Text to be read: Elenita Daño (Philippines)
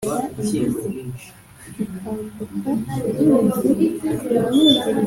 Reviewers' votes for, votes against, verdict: 0, 3, rejected